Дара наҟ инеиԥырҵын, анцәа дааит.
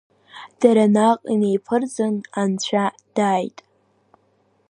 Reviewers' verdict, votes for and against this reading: accepted, 2, 0